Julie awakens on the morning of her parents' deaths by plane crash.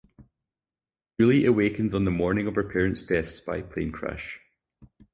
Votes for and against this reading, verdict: 0, 2, rejected